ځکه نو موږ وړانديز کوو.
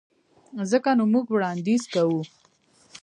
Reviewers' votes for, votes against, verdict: 1, 2, rejected